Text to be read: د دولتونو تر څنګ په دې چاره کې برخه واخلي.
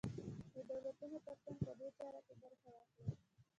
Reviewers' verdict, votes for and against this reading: accepted, 2, 0